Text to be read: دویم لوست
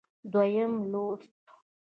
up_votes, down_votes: 2, 0